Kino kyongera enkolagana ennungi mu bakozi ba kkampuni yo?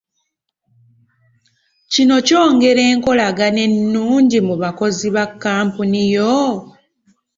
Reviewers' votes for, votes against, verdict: 2, 0, accepted